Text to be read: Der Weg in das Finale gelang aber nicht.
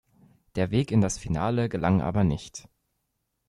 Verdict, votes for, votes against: accepted, 2, 0